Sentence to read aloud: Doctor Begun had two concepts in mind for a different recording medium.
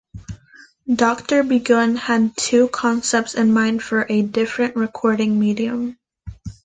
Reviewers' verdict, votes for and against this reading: accepted, 2, 0